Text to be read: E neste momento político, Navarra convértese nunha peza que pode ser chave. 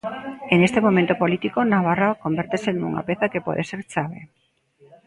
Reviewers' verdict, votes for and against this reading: rejected, 1, 2